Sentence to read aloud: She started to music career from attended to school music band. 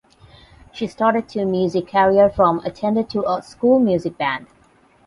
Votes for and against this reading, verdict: 0, 8, rejected